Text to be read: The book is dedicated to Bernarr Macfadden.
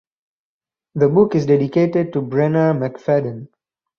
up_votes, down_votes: 2, 2